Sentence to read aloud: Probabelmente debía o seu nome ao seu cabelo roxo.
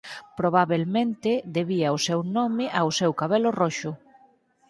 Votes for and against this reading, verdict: 4, 0, accepted